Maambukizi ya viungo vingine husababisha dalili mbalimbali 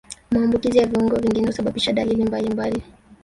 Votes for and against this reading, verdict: 1, 2, rejected